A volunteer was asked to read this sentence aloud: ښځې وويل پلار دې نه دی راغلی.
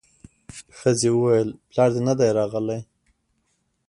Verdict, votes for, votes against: accepted, 2, 0